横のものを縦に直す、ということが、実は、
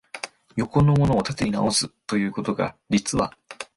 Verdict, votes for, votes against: accepted, 3, 0